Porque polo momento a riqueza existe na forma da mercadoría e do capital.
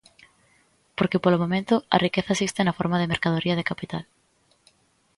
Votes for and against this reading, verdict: 1, 2, rejected